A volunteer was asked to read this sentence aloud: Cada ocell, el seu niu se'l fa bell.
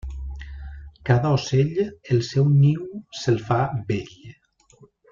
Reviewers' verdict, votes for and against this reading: rejected, 1, 3